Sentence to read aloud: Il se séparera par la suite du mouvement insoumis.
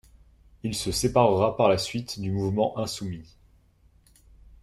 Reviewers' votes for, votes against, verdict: 2, 0, accepted